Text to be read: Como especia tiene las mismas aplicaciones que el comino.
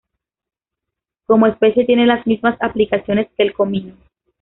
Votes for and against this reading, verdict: 1, 2, rejected